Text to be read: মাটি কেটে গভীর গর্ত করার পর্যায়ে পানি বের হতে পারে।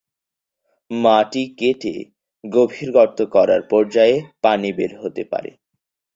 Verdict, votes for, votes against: accepted, 4, 0